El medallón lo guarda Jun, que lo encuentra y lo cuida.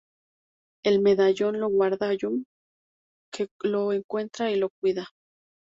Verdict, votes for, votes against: accepted, 2, 0